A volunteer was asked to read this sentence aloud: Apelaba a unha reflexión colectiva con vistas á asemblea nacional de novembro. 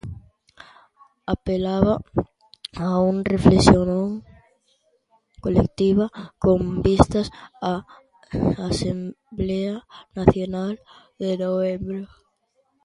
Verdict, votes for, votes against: rejected, 0, 2